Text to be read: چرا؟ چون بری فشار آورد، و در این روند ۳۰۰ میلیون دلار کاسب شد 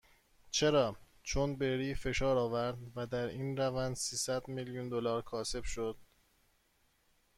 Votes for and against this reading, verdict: 0, 2, rejected